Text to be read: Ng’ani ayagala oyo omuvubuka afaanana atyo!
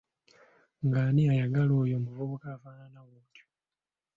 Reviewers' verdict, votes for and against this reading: rejected, 0, 2